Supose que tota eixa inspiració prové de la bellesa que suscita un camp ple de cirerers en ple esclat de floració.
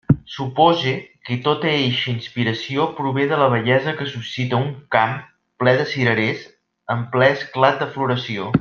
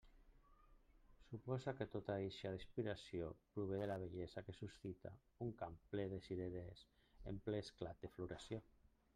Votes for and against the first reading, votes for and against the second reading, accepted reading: 4, 0, 0, 2, first